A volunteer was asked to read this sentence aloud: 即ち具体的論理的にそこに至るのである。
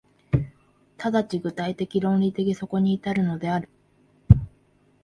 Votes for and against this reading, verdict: 1, 3, rejected